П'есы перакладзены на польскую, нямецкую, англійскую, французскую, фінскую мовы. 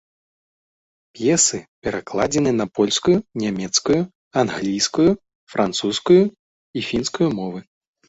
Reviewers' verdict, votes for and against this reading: rejected, 1, 2